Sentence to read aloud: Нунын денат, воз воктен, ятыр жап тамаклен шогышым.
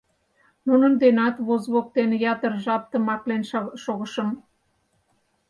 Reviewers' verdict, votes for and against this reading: rejected, 0, 4